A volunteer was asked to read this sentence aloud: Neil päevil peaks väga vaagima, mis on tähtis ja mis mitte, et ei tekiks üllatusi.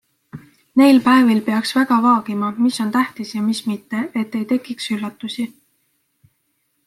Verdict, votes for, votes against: accepted, 2, 0